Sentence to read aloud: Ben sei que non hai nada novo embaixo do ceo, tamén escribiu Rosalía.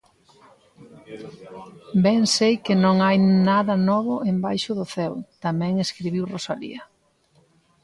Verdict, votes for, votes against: accepted, 2, 0